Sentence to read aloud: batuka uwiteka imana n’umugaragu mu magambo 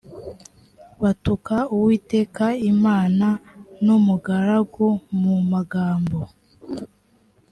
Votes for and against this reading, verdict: 2, 0, accepted